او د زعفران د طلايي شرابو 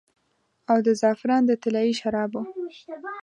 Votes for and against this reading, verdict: 2, 0, accepted